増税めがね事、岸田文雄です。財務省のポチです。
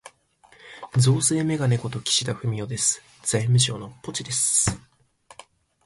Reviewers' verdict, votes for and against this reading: accepted, 2, 0